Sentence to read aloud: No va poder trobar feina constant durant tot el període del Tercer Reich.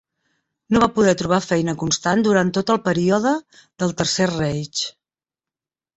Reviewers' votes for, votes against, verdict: 2, 0, accepted